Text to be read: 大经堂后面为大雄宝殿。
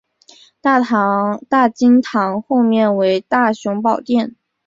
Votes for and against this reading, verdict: 0, 3, rejected